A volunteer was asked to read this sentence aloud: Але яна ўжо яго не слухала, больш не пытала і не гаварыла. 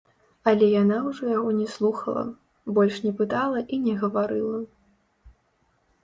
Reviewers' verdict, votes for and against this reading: rejected, 1, 2